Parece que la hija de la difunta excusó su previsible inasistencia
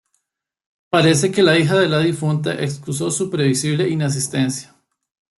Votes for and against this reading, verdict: 2, 0, accepted